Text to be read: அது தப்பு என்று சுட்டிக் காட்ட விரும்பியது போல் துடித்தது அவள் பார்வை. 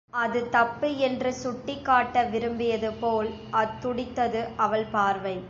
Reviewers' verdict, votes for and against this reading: rejected, 0, 2